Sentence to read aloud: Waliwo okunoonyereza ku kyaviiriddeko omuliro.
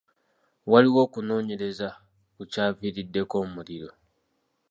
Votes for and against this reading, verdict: 3, 1, accepted